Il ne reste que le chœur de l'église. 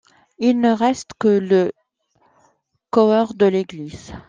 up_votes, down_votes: 0, 2